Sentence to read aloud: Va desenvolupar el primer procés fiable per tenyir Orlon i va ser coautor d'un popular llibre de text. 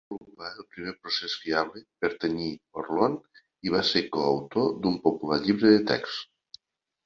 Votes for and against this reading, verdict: 0, 2, rejected